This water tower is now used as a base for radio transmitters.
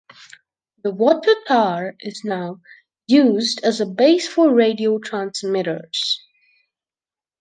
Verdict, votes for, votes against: rejected, 0, 2